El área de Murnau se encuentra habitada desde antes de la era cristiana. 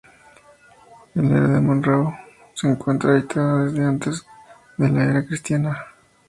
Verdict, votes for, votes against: accepted, 2, 0